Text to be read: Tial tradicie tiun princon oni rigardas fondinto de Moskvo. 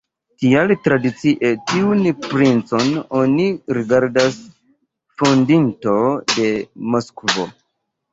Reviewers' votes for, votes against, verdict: 0, 2, rejected